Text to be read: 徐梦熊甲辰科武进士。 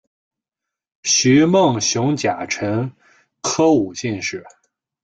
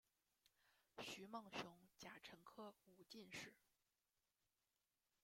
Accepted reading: first